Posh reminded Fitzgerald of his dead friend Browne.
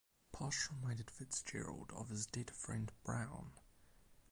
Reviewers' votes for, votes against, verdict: 0, 4, rejected